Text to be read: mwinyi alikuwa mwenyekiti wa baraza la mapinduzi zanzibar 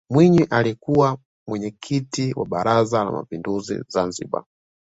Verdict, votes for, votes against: accepted, 2, 0